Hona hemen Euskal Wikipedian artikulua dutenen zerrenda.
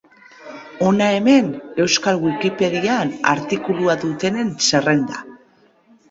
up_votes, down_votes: 2, 0